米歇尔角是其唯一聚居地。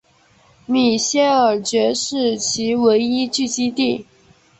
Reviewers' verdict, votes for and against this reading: rejected, 1, 2